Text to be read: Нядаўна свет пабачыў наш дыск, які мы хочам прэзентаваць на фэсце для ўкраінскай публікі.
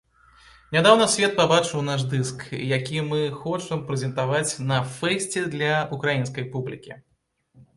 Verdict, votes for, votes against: accepted, 2, 0